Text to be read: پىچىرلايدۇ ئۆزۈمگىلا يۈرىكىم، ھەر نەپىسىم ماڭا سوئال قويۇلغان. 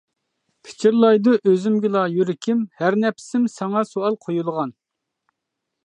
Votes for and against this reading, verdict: 2, 1, accepted